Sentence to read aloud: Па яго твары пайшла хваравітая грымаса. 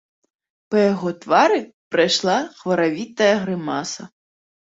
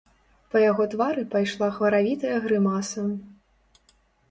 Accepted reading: second